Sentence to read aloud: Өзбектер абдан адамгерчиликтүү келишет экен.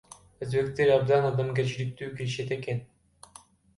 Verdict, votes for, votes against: rejected, 0, 2